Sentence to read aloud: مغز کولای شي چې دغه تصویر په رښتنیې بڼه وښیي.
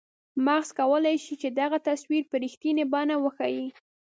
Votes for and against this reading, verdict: 2, 0, accepted